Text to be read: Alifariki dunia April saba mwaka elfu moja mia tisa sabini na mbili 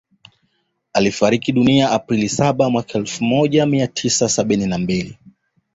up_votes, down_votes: 2, 0